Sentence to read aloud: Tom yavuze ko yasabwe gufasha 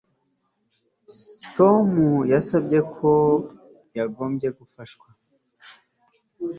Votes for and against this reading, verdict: 2, 0, accepted